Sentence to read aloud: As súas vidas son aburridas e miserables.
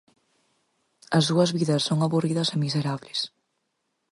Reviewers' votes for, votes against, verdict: 4, 0, accepted